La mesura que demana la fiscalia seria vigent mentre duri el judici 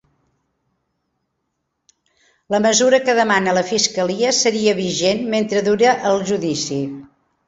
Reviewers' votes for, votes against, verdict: 0, 2, rejected